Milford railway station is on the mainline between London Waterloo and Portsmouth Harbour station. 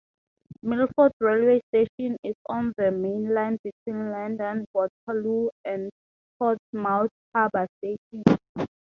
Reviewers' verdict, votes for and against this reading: accepted, 2, 0